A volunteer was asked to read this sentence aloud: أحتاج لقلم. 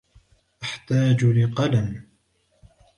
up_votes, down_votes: 2, 0